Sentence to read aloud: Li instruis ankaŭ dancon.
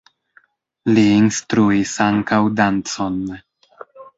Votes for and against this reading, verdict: 1, 2, rejected